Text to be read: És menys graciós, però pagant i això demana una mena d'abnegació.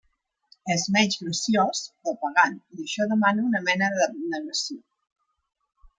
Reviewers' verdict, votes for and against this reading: rejected, 1, 2